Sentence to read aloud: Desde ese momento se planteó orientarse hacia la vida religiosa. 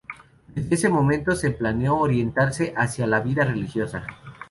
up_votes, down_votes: 0, 2